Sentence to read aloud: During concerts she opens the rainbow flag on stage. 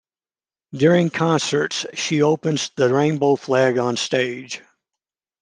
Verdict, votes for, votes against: accepted, 2, 0